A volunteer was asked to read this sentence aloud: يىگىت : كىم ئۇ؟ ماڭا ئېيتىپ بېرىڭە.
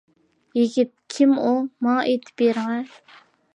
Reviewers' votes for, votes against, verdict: 2, 0, accepted